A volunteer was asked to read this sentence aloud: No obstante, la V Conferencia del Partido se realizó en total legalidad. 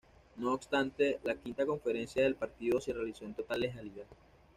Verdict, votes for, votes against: rejected, 1, 2